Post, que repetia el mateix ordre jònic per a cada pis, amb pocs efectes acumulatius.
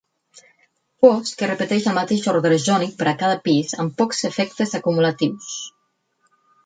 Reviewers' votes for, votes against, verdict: 0, 4, rejected